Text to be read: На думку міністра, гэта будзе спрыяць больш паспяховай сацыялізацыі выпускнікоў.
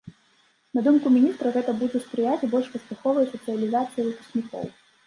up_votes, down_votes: 2, 0